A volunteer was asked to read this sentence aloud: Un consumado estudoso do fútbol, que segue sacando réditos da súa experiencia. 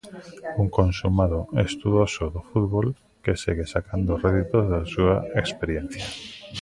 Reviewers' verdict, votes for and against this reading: accepted, 2, 0